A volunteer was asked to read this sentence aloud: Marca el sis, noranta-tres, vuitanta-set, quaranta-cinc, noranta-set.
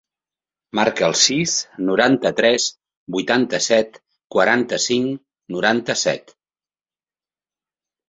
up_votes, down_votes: 3, 0